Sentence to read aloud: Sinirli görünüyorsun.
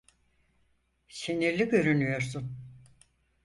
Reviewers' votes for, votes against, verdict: 4, 0, accepted